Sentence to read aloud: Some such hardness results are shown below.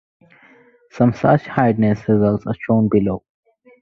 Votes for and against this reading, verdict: 4, 0, accepted